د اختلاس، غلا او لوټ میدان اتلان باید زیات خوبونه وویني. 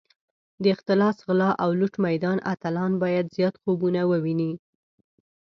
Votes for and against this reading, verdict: 2, 0, accepted